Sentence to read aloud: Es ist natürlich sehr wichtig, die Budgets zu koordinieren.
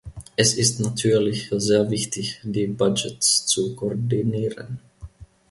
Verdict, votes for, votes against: accepted, 2, 0